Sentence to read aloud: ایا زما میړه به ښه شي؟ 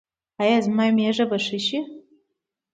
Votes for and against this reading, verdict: 0, 2, rejected